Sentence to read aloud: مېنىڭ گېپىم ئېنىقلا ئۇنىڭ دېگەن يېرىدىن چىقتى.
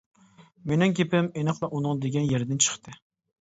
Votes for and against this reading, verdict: 2, 0, accepted